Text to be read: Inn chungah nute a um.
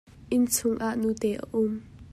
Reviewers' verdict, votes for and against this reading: accepted, 2, 0